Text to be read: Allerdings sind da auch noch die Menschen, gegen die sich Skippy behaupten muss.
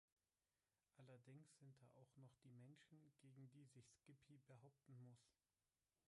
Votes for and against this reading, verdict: 1, 3, rejected